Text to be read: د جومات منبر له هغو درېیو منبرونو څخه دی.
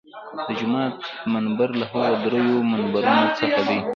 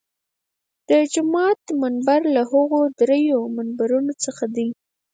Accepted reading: second